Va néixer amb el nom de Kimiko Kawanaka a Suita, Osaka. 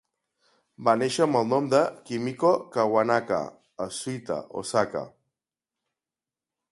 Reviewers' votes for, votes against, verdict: 2, 0, accepted